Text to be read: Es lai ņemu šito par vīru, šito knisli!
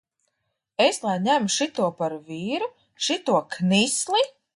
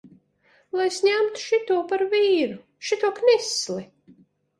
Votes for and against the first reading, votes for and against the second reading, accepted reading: 2, 0, 0, 2, first